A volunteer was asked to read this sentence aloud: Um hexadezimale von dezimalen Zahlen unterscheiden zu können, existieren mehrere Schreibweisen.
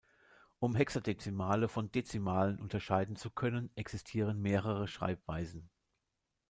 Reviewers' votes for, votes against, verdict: 0, 2, rejected